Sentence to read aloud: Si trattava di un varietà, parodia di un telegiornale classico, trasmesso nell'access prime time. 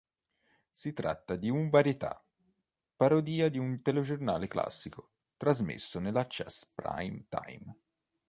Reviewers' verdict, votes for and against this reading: rejected, 1, 3